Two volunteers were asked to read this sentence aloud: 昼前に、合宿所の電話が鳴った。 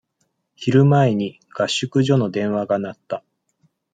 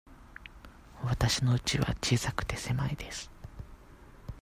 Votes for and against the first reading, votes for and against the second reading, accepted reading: 2, 0, 0, 2, first